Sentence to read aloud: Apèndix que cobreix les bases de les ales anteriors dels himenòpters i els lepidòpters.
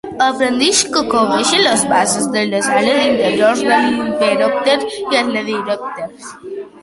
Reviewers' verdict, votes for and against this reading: rejected, 0, 2